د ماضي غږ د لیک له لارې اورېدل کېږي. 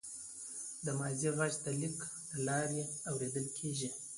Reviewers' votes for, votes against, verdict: 0, 2, rejected